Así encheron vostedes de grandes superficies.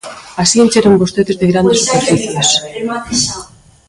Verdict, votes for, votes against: rejected, 0, 2